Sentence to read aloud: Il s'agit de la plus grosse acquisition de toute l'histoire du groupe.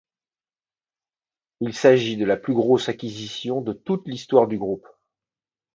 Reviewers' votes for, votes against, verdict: 2, 0, accepted